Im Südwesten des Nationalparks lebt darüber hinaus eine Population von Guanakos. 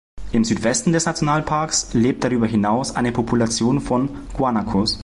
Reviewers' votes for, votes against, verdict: 2, 0, accepted